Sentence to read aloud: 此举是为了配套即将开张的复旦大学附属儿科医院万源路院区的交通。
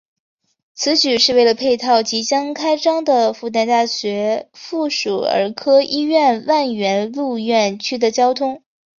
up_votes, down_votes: 3, 2